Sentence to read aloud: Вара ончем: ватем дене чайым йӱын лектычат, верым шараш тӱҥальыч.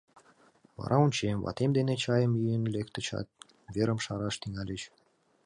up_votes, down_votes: 3, 0